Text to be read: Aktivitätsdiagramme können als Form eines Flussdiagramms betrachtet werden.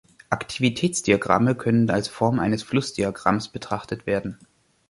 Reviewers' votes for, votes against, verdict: 2, 0, accepted